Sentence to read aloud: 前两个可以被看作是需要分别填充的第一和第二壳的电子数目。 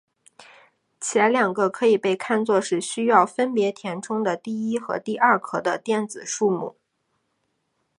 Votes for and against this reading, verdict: 3, 0, accepted